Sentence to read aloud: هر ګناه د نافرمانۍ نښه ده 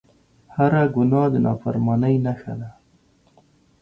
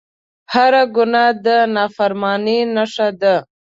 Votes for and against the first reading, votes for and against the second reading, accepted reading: 2, 0, 0, 2, first